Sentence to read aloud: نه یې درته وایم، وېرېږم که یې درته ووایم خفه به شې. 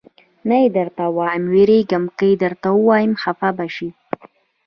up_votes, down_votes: 1, 2